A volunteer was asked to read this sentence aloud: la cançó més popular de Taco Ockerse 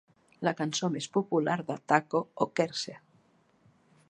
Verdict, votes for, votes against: accepted, 2, 0